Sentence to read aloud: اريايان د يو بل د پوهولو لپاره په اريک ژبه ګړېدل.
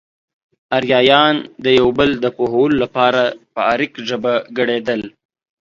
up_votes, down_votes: 2, 0